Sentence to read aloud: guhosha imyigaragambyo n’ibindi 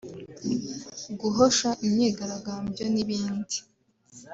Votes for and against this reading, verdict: 2, 1, accepted